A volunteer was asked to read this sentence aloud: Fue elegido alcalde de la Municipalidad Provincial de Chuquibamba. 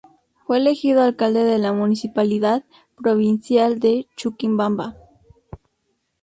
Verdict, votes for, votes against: rejected, 0, 2